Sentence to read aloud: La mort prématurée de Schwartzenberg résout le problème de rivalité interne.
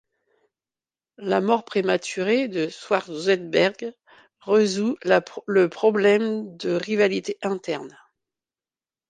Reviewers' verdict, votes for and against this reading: rejected, 1, 2